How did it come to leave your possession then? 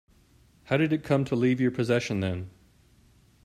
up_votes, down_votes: 2, 0